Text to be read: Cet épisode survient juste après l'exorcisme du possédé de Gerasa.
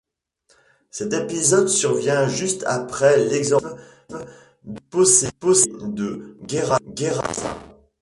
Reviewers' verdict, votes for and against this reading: rejected, 0, 2